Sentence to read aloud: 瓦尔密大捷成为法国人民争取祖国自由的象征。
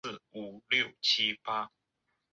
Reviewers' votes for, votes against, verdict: 0, 2, rejected